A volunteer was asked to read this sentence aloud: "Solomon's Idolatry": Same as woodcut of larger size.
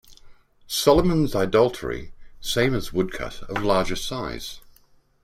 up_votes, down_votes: 1, 2